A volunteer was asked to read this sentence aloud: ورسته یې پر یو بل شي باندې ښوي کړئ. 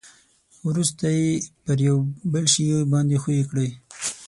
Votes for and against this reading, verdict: 3, 6, rejected